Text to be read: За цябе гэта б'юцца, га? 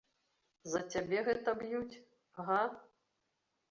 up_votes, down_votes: 0, 2